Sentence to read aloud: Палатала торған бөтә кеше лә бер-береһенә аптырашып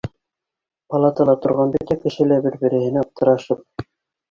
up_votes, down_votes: 3, 2